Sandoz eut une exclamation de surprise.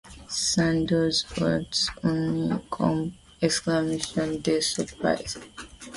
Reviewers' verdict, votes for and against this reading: rejected, 1, 2